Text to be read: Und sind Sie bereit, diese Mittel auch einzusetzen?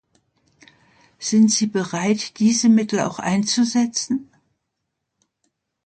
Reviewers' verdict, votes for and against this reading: rejected, 1, 2